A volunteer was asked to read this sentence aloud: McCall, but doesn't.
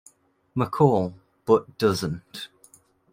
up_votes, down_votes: 2, 1